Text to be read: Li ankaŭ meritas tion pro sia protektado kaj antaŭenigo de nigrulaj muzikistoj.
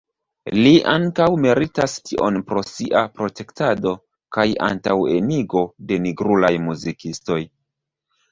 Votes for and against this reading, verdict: 0, 2, rejected